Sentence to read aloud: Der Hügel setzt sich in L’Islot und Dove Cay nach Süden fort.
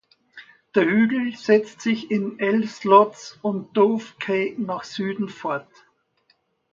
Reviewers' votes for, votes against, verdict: 0, 2, rejected